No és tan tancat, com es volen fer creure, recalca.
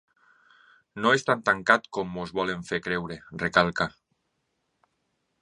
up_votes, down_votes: 2, 1